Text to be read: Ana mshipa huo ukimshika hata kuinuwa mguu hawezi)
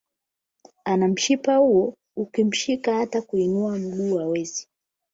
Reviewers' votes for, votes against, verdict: 4, 8, rejected